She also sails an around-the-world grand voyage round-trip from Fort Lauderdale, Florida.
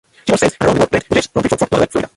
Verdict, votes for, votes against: rejected, 1, 3